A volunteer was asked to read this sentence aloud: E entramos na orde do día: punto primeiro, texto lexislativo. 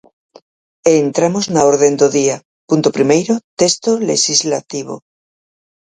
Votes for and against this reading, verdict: 0, 4, rejected